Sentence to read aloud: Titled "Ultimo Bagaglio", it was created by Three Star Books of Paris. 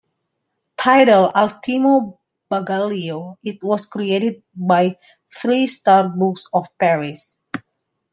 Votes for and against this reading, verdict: 1, 2, rejected